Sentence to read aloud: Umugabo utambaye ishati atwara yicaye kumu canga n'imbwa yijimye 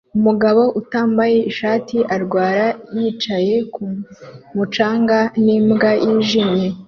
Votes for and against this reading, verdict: 1, 2, rejected